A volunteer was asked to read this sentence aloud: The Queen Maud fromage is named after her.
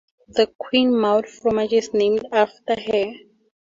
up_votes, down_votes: 2, 4